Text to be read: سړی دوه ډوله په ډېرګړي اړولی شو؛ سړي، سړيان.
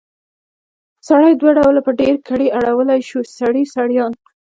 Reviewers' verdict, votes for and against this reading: rejected, 1, 2